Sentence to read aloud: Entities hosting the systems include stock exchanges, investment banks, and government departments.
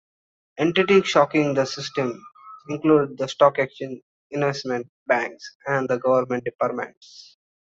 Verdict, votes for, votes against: rejected, 1, 2